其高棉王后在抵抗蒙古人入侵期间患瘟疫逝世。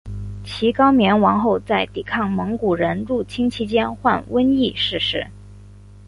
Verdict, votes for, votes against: accepted, 3, 1